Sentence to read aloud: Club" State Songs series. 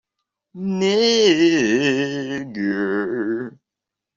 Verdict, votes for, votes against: rejected, 0, 3